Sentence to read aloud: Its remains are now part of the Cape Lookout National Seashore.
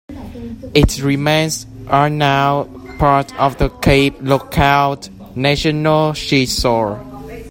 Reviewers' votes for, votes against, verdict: 0, 2, rejected